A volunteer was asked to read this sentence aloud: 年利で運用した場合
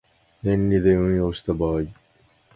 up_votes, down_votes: 2, 0